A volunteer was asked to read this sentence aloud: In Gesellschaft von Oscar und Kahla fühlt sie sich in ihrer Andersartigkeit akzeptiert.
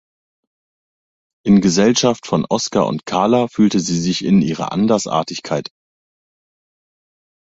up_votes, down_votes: 0, 2